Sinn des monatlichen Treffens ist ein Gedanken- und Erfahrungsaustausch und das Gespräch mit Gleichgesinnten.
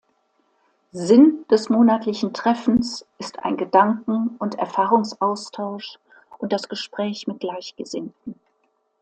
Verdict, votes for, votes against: accepted, 2, 0